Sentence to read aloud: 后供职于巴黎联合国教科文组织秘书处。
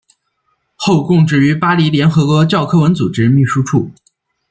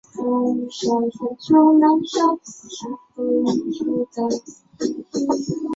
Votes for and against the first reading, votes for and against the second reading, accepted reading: 3, 1, 0, 2, first